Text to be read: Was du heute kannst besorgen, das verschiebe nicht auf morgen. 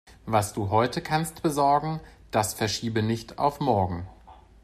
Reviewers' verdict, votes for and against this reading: accepted, 3, 0